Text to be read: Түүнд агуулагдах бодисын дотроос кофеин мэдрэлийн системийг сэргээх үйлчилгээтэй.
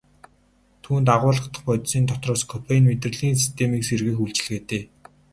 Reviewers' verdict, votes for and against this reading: rejected, 0, 2